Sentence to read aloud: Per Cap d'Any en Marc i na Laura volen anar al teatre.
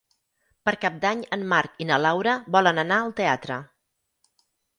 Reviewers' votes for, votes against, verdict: 6, 0, accepted